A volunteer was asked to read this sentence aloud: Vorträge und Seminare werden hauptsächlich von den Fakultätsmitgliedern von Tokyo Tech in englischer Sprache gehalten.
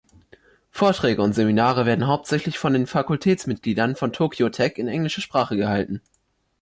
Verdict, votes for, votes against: accepted, 2, 1